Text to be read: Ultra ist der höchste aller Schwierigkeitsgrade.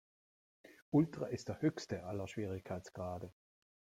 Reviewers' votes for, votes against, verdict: 2, 0, accepted